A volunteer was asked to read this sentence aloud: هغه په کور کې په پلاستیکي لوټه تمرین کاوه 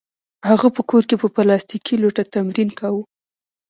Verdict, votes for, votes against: rejected, 2, 3